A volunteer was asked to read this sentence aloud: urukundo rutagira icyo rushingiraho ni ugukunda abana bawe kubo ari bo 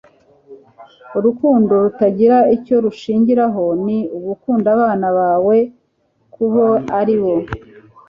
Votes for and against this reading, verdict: 2, 0, accepted